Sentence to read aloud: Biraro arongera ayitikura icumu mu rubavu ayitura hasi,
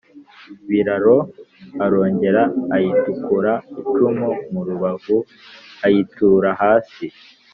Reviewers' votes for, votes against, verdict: 3, 0, accepted